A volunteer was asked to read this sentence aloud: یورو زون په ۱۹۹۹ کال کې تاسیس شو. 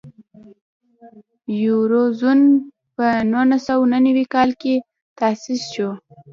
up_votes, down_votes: 0, 2